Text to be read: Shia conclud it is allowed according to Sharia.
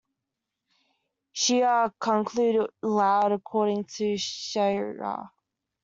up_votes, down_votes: 0, 2